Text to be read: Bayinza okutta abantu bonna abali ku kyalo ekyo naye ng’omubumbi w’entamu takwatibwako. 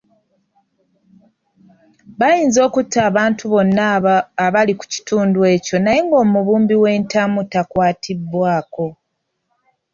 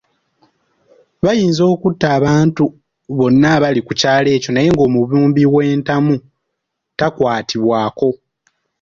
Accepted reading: second